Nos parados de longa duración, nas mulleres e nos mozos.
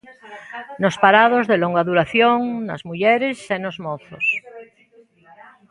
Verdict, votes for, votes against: rejected, 1, 2